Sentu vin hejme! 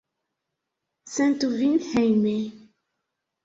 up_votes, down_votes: 1, 2